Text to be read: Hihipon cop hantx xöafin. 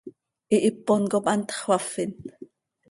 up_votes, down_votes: 2, 0